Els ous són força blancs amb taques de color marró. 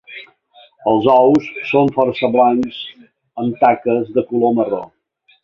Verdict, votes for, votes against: accepted, 4, 0